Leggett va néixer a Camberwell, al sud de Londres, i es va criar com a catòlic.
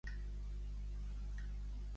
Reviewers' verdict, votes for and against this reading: rejected, 0, 2